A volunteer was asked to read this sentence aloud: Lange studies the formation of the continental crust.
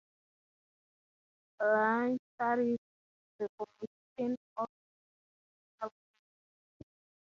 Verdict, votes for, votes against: rejected, 0, 6